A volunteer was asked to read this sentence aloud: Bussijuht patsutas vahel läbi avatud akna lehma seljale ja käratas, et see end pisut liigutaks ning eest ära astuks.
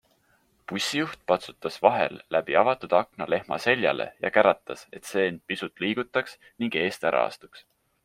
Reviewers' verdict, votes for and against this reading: accepted, 3, 0